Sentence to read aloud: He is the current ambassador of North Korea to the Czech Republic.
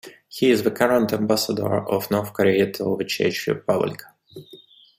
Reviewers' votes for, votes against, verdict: 1, 2, rejected